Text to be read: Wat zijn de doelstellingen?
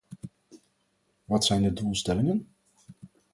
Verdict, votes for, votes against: accepted, 4, 0